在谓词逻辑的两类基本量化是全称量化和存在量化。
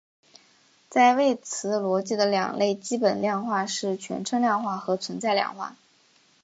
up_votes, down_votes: 3, 1